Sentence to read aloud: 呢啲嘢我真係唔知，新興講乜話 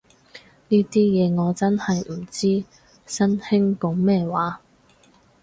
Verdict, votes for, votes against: rejected, 2, 4